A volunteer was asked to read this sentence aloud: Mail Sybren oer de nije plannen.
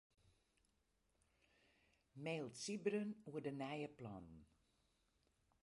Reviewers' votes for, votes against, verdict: 2, 4, rejected